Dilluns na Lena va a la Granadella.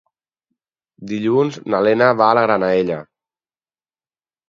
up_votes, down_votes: 4, 0